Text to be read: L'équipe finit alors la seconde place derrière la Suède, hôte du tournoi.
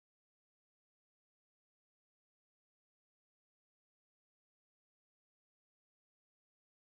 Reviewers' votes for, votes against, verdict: 0, 2, rejected